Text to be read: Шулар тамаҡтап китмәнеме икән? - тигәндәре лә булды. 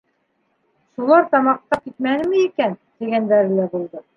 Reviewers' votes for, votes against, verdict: 0, 2, rejected